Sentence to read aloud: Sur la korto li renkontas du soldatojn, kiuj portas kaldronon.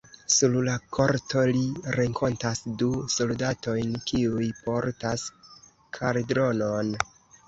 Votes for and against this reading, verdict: 0, 2, rejected